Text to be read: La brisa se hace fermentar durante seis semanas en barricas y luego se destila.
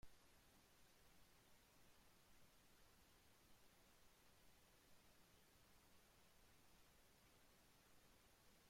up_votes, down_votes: 0, 2